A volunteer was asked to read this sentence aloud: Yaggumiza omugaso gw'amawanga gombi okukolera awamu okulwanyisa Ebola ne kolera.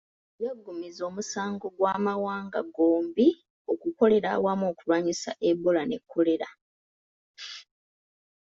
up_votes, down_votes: 0, 2